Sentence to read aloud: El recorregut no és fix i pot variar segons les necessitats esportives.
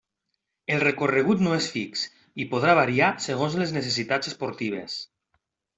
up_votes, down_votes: 0, 2